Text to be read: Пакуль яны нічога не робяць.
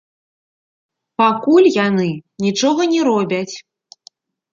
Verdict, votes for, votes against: accepted, 2, 0